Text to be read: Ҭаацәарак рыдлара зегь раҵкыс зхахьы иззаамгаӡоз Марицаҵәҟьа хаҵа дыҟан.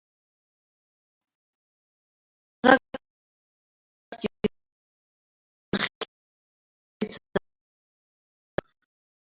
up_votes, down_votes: 0, 2